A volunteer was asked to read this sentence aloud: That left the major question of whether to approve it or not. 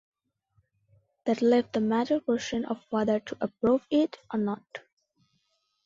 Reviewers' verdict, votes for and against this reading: accepted, 2, 0